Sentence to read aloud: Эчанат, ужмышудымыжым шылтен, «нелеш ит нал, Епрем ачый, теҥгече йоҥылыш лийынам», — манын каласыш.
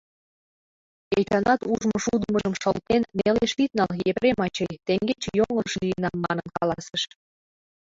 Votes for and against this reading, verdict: 0, 2, rejected